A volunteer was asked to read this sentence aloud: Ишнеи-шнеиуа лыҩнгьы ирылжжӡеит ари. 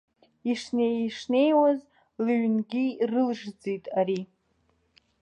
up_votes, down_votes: 1, 2